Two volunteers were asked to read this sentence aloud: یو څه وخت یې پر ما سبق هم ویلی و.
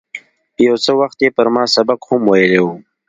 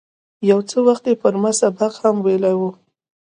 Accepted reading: first